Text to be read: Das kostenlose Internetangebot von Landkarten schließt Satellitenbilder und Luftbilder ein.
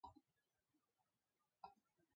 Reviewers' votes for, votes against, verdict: 0, 2, rejected